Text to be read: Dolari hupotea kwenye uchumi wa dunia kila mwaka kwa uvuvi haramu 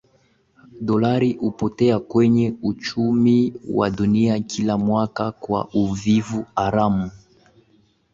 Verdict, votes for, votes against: accepted, 2, 0